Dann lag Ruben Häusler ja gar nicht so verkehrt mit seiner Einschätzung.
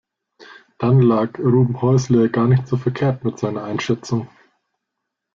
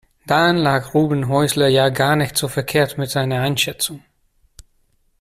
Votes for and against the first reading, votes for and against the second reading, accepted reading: 1, 2, 2, 0, second